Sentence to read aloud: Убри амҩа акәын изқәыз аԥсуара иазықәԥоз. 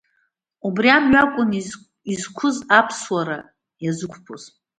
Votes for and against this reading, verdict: 0, 2, rejected